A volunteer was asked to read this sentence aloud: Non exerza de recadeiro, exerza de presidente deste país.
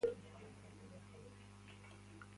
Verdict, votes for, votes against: rejected, 0, 2